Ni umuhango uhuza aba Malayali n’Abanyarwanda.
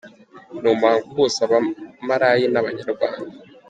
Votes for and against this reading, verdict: 0, 2, rejected